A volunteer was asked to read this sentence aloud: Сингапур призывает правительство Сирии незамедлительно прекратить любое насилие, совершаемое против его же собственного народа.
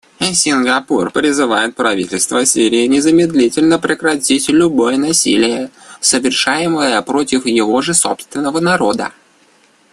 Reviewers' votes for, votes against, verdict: 2, 0, accepted